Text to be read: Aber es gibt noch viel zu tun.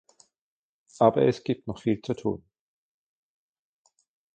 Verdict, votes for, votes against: accepted, 2, 0